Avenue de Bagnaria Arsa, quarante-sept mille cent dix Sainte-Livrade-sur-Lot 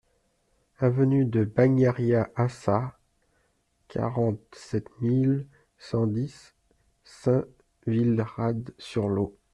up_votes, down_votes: 0, 2